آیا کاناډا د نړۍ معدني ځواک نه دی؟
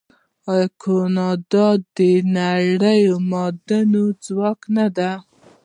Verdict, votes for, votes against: rejected, 1, 2